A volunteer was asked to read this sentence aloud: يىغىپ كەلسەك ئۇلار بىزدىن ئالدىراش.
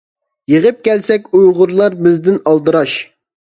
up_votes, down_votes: 0, 2